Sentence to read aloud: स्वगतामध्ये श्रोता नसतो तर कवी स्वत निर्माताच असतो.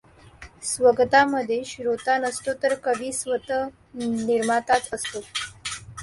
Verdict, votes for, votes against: rejected, 1, 2